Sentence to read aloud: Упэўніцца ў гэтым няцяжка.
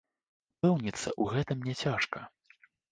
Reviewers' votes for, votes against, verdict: 0, 2, rejected